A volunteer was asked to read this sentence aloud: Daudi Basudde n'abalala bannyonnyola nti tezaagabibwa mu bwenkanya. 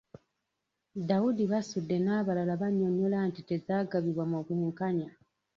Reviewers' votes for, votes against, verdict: 2, 1, accepted